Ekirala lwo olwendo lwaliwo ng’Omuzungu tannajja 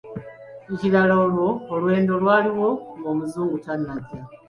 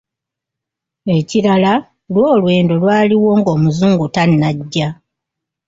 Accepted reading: second